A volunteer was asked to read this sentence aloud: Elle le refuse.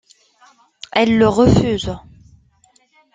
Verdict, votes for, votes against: accepted, 2, 0